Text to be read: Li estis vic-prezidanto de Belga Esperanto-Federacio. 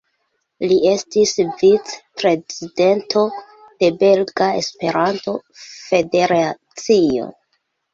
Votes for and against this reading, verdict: 0, 2, rejected